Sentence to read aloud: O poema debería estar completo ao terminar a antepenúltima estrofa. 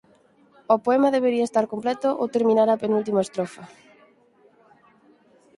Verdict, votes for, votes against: rejected, 0, 4